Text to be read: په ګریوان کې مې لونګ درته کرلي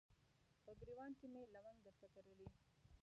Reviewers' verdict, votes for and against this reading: rejected, 0, 2